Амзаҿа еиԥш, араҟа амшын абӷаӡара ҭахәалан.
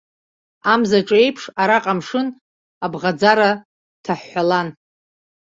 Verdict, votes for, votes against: rejected, 0, 2